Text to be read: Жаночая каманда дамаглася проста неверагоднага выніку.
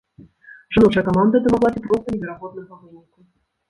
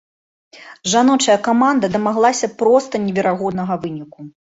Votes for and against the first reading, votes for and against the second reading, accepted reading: 0, 2, 2, 0, second